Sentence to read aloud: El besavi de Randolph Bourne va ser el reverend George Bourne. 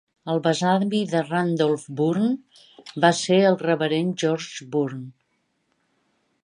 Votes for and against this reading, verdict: 2, 0, accepted